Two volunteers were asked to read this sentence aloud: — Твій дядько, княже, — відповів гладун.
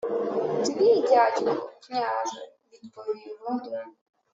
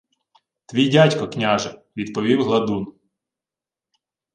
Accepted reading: second